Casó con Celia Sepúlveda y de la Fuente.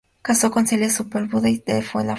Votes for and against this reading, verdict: 0, 2, rejected